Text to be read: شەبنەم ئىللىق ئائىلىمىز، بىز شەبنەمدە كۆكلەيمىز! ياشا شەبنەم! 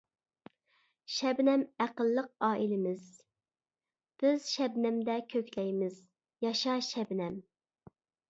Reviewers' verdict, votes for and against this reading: rejected, 0, 2